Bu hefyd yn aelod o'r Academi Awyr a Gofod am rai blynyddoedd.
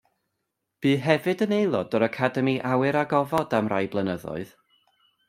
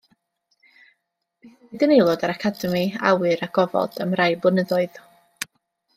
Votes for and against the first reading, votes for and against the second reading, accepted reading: 2, 0, 1, 2, first